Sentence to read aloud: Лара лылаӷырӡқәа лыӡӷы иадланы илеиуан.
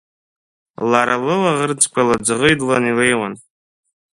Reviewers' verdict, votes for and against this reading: rejected, 0, 2